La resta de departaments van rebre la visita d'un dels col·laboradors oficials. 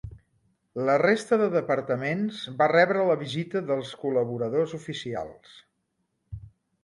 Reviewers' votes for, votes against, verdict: 1, 2, rejected